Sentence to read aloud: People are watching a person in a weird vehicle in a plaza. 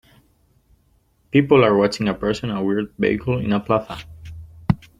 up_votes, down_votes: 0, 3